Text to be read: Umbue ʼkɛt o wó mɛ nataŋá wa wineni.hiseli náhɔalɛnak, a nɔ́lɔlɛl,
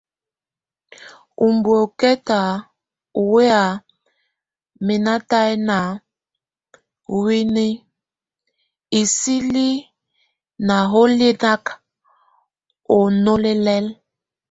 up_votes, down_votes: 0, 2